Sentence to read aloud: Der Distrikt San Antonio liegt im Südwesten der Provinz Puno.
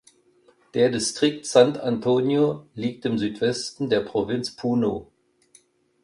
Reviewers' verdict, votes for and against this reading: rejected, 1, 2